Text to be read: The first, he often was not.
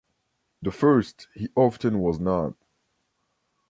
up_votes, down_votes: 2, 0